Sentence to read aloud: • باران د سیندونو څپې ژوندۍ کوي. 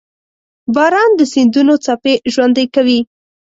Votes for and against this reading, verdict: 2, 0, accepted